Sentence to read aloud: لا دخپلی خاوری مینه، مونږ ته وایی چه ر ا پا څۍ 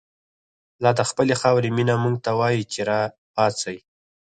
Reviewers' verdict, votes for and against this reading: rejected, 0, 4